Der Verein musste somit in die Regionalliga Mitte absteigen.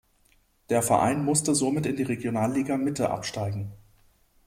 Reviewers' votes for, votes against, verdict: 2, 0, accepted